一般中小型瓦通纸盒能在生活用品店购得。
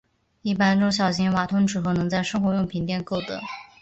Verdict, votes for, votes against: accepted, 2, 0